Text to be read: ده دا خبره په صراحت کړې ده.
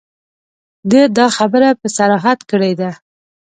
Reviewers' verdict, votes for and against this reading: accepted, 2, 0